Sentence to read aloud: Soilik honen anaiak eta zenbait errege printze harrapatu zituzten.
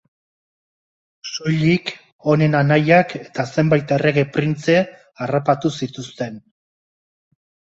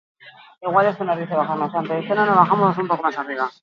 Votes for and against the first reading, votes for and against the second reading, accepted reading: 2, 0, 0, 4, first